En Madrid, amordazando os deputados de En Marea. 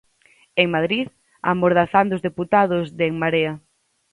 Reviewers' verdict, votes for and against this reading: accepted, 4, 0